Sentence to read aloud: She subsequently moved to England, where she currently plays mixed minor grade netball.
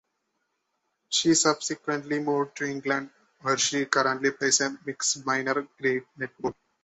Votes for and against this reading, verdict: 1, 2, rejected